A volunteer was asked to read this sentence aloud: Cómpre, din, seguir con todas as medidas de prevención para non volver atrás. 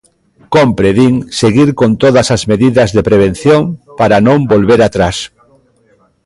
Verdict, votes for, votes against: rejected, 1, 2